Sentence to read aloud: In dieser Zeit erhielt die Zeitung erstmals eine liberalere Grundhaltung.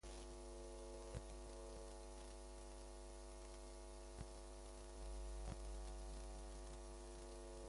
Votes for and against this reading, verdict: 0, 2, rejected